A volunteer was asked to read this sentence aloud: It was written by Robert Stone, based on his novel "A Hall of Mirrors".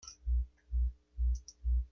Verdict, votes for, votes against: rejected, 0, 2